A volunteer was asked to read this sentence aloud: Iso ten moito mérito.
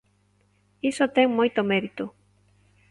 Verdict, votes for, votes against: accepted, 2, 0